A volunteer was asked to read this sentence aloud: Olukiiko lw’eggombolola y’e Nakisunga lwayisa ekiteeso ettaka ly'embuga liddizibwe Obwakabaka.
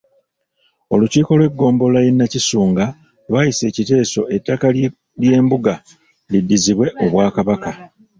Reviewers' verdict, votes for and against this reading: rejected, 1, 2